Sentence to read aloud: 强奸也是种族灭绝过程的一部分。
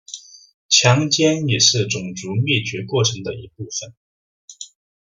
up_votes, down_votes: 2, 0